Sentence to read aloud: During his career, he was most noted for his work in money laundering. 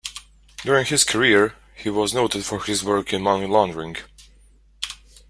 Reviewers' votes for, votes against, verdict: 0, 2, rejected